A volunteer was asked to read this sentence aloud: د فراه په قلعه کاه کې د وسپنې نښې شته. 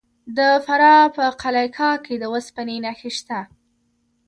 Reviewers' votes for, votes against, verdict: 1, 2, rejected